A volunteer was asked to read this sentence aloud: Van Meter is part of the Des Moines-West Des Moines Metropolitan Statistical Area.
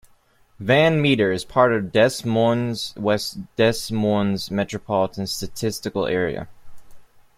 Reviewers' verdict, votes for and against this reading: rejected, 1, 2